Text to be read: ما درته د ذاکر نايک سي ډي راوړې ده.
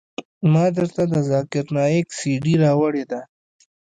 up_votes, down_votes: 2, 0